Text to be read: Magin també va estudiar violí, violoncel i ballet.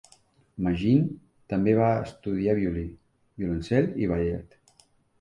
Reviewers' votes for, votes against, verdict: 2, 0, accepted